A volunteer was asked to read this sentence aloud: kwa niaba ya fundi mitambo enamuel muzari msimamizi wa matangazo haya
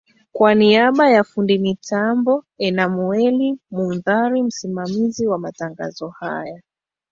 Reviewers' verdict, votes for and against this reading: accepted, 2, 1